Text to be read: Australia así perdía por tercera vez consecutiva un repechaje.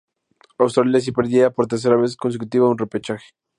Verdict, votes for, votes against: accepted, 2, 0